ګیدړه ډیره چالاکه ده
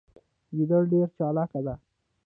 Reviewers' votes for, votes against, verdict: 2, 1, accepted